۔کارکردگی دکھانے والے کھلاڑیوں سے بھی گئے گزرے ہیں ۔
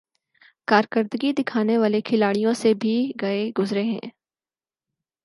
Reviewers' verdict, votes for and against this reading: accepted, 4, 0